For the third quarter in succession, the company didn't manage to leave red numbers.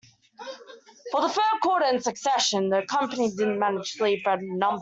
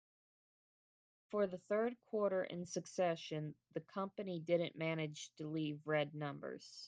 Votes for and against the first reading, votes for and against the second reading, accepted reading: 1, 2, 2, 0, second